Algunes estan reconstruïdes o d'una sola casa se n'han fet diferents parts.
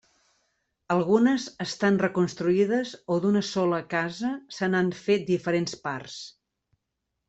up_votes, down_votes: 3, 0